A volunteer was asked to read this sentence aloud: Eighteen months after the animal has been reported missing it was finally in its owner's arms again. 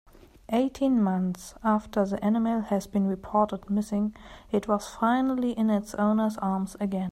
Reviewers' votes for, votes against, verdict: 2, 0, accepted